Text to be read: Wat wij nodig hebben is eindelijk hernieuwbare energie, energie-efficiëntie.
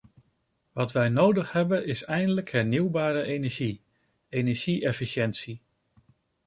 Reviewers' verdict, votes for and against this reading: accepted, 2, 0